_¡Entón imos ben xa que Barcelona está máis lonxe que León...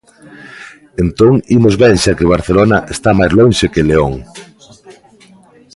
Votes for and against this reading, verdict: 2, 1, accepted